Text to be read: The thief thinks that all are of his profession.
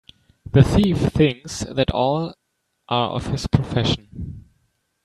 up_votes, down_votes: 2, 0